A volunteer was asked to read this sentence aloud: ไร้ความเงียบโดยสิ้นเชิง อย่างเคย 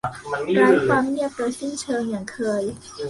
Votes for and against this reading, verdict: 1, 2, rejected